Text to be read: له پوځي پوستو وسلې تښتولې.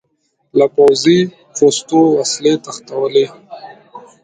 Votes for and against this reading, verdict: 0, 2, rejected